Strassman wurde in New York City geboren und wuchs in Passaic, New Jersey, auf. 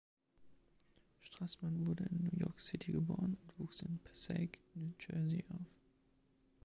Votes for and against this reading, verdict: 2, 1, accepted